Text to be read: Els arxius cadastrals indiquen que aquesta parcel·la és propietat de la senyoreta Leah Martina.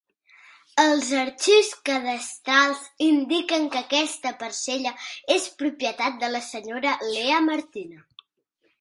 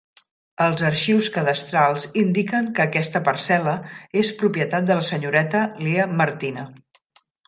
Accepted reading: second